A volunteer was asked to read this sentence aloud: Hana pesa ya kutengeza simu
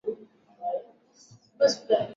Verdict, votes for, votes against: rejected, 0, 2